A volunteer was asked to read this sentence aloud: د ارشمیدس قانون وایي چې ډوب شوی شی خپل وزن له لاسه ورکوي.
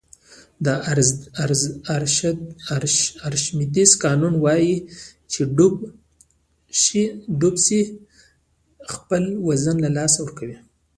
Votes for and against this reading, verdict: 0, 2, rejected